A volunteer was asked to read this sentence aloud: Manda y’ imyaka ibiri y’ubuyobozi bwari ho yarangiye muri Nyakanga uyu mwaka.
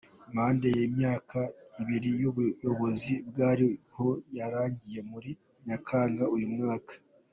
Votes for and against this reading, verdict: 2, 1, accepted